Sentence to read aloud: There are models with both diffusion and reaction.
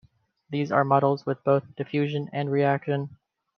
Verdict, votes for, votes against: rejected, 1, 2